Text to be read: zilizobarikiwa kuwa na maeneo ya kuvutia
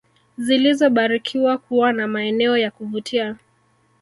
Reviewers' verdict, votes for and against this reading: accepted, 2, 1